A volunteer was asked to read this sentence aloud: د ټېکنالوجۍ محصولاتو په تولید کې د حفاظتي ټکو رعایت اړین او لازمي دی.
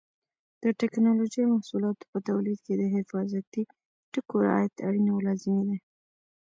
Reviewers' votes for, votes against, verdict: 1, 2, rejected